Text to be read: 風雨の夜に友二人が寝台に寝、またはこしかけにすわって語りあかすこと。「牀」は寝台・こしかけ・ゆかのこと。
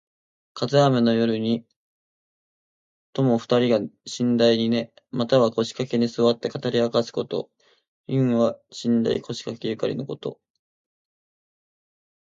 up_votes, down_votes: 1, 2